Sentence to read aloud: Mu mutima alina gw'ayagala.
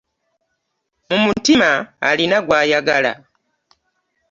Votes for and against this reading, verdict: 2, 0, accepted